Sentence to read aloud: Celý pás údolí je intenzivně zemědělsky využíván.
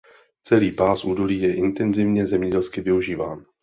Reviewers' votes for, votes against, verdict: 2, 0, accepted